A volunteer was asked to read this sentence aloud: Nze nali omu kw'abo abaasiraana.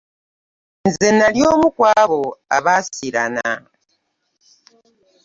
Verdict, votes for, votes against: rejected, 1, 2